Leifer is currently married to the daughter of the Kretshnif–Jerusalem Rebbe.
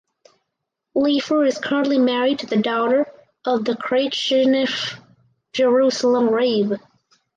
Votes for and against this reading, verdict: 2, 2, rejected